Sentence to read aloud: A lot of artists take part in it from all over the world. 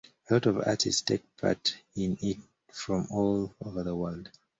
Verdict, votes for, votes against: rejected, 1, 2